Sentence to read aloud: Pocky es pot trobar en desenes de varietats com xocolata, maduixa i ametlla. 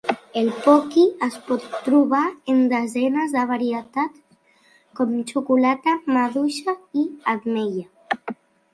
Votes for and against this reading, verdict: 0, 2, rejected